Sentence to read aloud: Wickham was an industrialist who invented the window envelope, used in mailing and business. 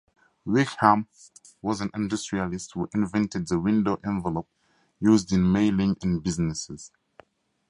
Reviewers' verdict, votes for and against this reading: rejected, 0, 2